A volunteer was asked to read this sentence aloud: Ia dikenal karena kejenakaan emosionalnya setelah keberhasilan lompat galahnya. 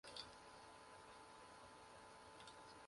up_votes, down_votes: 0, 2